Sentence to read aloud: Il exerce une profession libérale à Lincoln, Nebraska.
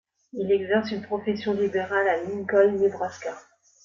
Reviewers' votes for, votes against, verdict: 2, 0, accepted